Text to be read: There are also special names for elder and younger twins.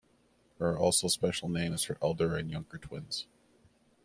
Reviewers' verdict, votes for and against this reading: accepted, 2, 1